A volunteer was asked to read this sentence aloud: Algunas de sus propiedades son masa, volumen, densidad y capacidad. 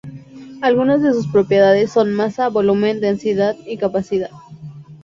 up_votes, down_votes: 4, 0